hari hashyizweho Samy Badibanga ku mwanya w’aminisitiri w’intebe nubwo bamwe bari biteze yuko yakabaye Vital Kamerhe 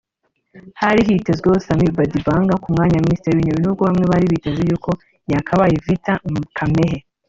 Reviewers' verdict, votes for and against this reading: accepted, 2, 1